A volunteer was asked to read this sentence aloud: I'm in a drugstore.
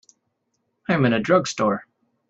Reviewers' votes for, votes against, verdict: 2, 0, accepted